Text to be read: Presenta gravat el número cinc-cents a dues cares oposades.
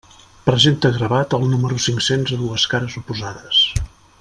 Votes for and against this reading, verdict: 3, 0, accepted